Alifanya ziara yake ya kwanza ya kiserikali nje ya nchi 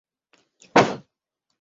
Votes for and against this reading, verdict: 0, 2, rejected